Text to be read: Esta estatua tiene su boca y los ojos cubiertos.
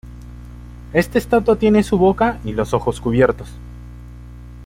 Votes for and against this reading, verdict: 1, 2, rejected